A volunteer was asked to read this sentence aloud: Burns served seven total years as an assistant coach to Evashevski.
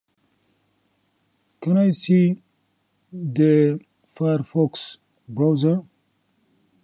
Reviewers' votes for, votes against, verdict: 0, 2, rejected